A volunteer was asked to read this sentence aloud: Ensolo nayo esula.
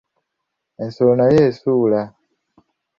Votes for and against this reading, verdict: 1, 2, rejected